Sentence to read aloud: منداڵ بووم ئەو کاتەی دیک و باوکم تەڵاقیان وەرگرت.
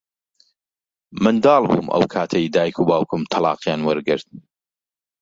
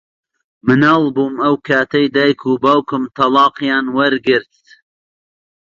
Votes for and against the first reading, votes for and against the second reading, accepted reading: 2, 1, 1, 2, first